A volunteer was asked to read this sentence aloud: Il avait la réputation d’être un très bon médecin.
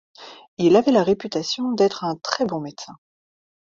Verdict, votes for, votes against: accepted, 2, 0